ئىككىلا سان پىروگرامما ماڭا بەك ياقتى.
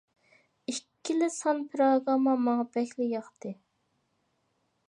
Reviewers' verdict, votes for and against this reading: rejected, 0, 2